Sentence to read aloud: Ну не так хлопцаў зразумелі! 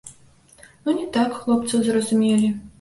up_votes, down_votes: 2, 0